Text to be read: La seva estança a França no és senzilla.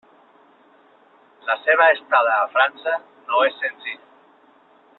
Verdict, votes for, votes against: rejected, 0, 2